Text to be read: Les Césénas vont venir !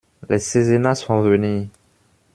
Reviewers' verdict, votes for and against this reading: rejected, 1, 2